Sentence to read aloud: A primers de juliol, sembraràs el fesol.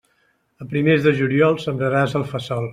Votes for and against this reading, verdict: 1, 2, rejected